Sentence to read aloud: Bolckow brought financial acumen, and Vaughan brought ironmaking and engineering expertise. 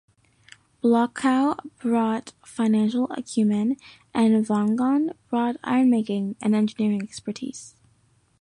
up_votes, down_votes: 2, 1